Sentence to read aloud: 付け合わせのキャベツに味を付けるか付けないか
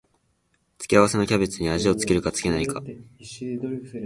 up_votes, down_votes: 0, 2